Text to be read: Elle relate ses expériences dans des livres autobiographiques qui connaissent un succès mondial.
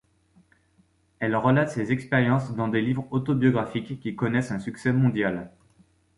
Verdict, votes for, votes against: accepted, 2, 0